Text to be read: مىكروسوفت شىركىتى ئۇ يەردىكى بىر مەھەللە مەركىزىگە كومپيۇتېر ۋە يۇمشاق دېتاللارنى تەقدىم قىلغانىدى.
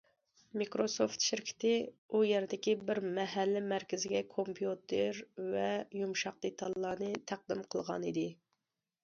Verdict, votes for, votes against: accepted, 2, 0